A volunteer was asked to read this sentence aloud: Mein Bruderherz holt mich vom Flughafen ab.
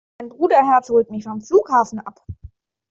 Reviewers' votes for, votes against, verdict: 1, 2, rejected